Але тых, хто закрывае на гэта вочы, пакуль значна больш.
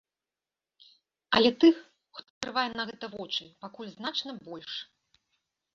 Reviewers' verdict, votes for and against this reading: rejected, 1, 2